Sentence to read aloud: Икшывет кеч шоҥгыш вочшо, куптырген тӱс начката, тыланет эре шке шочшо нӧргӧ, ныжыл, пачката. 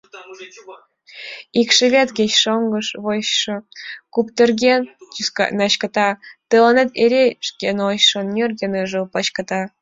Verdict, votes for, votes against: rejected, 1, 2